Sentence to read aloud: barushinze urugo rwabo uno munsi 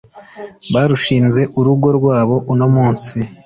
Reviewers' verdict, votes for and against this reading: accepted, 2, 0